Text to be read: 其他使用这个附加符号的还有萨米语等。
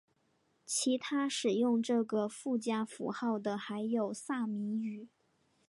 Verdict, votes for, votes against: rejected, 0, 2